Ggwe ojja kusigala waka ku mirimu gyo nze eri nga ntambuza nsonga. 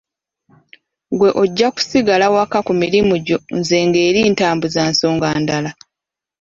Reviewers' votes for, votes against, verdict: 0, 2, rejected